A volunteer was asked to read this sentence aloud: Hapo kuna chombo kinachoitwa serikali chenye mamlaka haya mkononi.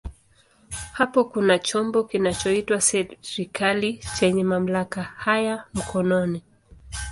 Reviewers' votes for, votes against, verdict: 2, 0, accepted